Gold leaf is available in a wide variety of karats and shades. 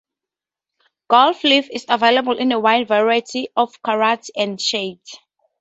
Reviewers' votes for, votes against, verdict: 2, 0, accepted